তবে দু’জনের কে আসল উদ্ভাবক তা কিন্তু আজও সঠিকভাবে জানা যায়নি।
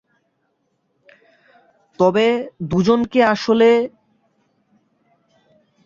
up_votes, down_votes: 0, 3